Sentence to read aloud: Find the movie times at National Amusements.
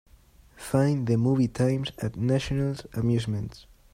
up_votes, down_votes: 2, 0